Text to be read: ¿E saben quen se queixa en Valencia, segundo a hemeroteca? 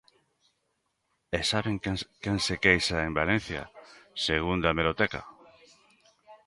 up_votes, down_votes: 0, 2